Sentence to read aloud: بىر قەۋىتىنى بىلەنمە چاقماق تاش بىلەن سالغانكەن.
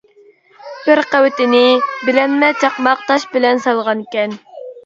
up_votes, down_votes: 1, 2